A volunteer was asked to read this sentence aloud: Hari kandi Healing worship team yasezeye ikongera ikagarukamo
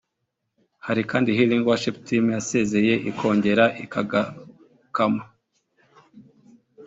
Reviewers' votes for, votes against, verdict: 2, 0, accepted